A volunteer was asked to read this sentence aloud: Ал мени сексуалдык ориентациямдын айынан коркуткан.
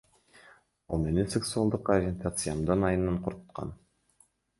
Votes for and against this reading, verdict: 1, 2, rejected